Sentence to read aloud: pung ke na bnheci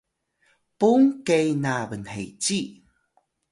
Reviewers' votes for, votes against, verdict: 2, 0, accepted